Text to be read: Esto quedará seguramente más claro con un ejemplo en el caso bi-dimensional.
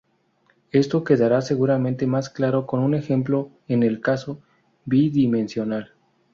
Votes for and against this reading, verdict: 2, 0, accepted